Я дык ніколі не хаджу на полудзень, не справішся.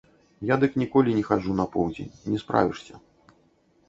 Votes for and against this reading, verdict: 0, 2, rejected